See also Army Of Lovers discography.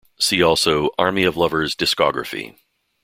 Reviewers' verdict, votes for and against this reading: accepted, 2, 0